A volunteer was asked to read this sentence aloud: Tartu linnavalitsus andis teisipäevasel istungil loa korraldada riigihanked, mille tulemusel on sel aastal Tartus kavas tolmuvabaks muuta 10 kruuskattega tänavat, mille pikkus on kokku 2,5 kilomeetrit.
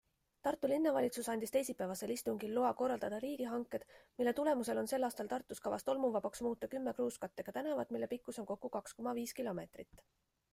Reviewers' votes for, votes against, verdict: 0, 2, rejected